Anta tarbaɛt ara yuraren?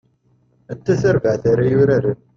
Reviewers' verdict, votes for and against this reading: rejected, 1, 2